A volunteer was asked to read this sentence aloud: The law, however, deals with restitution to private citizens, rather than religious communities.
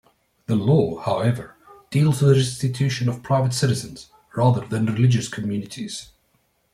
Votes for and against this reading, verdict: 1, 2, rejected